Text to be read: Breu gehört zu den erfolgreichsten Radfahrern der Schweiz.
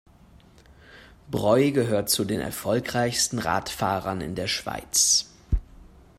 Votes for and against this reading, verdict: 0, 2, rejected